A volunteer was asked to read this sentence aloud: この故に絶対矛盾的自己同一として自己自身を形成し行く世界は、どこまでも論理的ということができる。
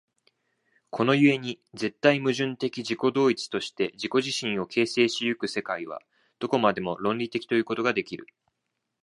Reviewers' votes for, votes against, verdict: 2, 1, accepted